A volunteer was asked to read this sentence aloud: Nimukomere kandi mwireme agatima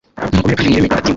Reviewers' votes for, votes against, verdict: 0, 3, rejected